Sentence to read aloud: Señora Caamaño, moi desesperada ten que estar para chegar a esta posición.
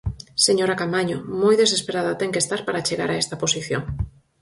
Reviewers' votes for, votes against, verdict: 4, 0, accepted